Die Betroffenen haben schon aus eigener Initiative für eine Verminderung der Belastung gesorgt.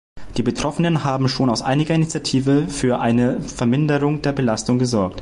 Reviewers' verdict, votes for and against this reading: rejected, 1, 2